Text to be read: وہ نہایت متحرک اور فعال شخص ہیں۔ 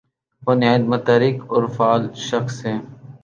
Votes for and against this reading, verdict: 7, 0, accepted